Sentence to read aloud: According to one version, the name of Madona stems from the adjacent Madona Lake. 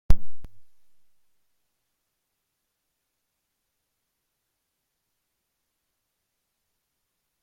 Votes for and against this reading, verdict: 0, 2, rejected